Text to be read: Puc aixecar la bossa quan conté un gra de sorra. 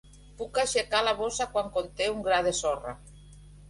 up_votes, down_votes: 3, 0